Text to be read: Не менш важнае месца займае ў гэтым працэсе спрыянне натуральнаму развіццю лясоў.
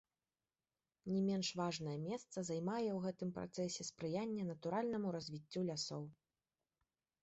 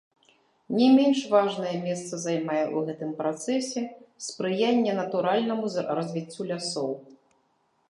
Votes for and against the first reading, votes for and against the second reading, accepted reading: 2, 0, 1, 2, first